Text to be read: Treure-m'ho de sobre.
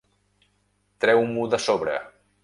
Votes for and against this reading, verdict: 0, 2, rejected